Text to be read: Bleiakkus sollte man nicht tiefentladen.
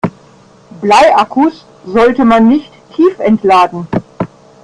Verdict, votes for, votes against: rejected, 1, 2